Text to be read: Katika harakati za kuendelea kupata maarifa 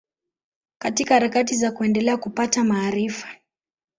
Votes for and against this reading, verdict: 5, 0, accepted